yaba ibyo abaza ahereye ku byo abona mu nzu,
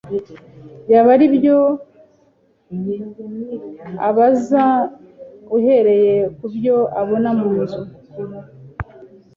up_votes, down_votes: 1, 2